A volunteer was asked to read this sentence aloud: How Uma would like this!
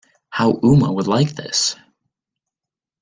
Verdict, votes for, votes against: accepted, 2, 0